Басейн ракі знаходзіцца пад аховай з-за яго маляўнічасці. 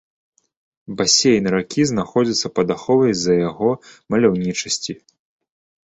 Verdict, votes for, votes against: accepted, 2, 0